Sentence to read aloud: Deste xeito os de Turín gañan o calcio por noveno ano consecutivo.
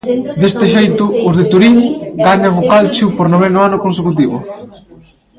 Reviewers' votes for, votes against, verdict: 0, 2, rejected